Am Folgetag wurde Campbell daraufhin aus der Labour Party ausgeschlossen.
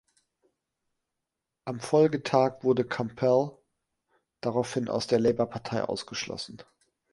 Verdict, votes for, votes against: rejected, 0, 2